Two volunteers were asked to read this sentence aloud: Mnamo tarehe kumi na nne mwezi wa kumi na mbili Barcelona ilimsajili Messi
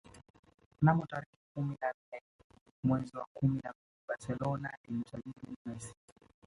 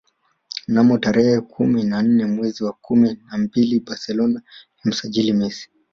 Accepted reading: second